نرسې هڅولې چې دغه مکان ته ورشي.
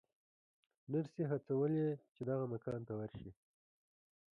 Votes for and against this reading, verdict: 0, 2, rejected